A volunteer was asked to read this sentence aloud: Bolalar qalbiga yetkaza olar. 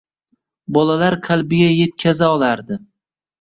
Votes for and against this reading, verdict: 0, 2, rejected